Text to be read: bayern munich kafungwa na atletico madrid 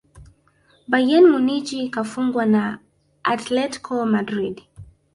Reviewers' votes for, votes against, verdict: 1, 2, rejected